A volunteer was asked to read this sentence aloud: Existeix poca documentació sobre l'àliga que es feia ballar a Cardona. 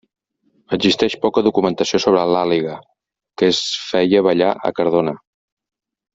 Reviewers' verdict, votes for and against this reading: rejected, 0, 2